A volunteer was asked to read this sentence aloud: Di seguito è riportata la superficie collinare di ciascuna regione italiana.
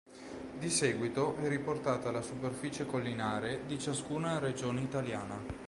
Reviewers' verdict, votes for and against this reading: accepted, 3, 0